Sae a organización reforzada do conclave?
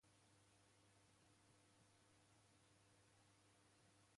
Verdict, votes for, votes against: rejected, 0, 2